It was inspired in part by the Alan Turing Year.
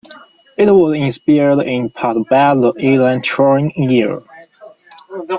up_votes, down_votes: 0, 2